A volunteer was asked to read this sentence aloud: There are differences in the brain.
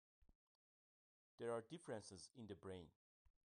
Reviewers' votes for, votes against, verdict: 1, 2, rejected